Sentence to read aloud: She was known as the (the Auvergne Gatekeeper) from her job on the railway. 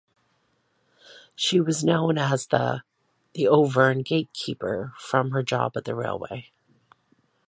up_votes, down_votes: 2, 0